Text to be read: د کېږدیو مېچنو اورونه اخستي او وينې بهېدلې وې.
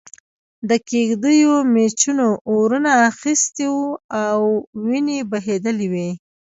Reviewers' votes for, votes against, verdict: 2, 1, accepted